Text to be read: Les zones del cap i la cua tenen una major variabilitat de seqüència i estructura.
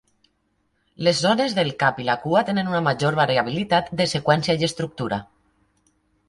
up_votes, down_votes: 3, 0